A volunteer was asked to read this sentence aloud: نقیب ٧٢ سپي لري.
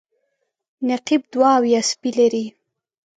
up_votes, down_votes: 0, 2